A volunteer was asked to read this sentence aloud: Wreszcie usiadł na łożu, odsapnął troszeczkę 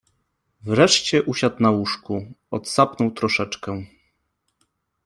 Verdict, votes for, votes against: rejected, 1, 2